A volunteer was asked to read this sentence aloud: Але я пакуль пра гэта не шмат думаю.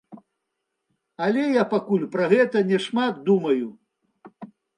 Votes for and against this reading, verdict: 2, 0, accepted